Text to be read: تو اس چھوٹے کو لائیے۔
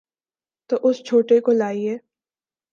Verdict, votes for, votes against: accepted, 2, 0